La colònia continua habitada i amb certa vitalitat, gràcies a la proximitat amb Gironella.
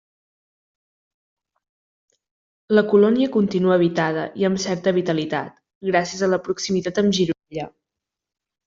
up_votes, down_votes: 1, 2